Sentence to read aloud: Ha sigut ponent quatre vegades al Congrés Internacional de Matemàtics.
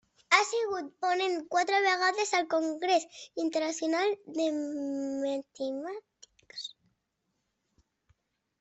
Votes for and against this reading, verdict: 1, 2, rejected